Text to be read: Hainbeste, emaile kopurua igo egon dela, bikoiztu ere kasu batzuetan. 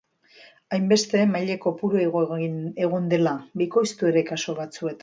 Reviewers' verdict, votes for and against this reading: rejected, 0, 2